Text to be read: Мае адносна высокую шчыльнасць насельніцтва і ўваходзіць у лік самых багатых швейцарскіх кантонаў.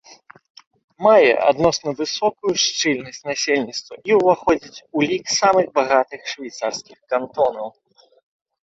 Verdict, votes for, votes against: accepted, 2, 0